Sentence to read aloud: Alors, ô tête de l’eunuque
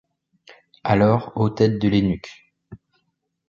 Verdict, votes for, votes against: rejected, 0, 2